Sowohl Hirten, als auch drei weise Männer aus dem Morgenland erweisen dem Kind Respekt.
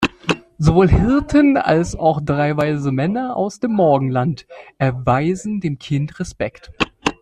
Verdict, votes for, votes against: accepted, 2, 0